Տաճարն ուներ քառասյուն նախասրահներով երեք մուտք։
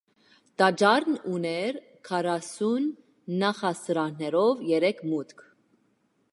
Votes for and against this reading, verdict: 2, 0, accepted